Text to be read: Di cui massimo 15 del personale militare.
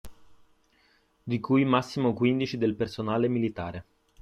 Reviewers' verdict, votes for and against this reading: rejected, 0, 2